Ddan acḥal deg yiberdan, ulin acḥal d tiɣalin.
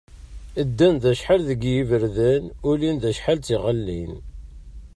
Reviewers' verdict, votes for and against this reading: rejected, 0, 2